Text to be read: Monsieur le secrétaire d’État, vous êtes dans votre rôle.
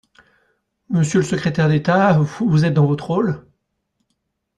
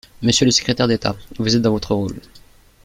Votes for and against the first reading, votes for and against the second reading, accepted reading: 1, 2, 2, 0, second